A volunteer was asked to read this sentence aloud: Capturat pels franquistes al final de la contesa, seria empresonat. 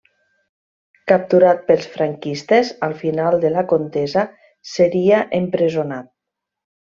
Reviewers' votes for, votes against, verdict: 3, 0, accepted